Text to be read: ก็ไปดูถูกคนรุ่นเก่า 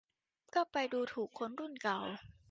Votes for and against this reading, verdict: 2, 0, accepted